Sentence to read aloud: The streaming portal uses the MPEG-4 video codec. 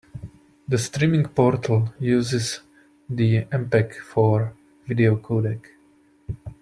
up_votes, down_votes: 0, 2